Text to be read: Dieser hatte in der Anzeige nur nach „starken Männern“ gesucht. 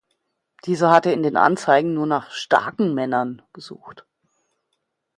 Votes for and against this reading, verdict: 1, 2, rejected